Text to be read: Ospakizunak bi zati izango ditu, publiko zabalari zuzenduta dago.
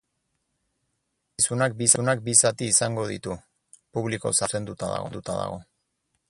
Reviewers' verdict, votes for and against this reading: rejected, 0, 4